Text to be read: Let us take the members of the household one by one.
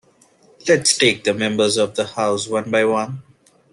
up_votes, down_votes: 0, 2